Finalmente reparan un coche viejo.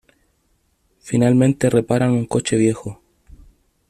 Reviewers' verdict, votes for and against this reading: accepted, 2, 1